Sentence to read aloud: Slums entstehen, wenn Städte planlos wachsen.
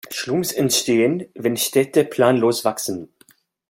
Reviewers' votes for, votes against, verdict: 0, 2, rejected